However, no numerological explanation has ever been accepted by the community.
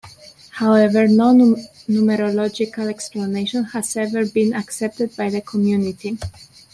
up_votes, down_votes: 1, 2